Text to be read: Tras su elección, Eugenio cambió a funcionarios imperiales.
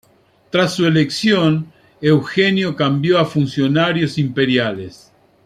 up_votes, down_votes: 2, 0